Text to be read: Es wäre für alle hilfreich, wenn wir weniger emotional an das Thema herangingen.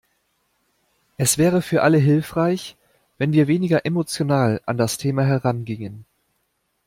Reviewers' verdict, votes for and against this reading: accepted, 2, 0